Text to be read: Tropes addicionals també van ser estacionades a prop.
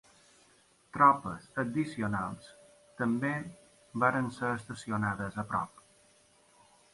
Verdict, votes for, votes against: rejected, 0, 2